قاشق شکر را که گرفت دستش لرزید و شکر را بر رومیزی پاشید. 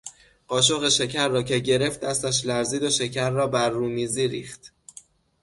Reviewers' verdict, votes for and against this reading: accepted, 6, 0